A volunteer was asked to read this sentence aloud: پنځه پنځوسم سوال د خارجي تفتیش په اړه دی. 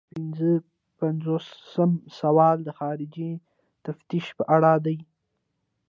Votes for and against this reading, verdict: 1, 3, rejected